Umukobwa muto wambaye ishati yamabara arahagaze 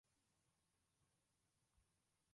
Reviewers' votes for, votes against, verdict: 0, 2, rejected